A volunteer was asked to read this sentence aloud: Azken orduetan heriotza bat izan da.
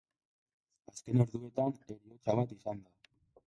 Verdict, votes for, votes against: rejected, 0, 2